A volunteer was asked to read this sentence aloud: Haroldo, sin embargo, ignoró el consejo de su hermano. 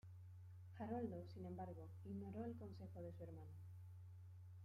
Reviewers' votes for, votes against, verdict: 0, 2, rejected